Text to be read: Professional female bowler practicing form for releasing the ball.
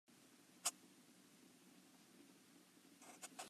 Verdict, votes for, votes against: rejected, 0, 2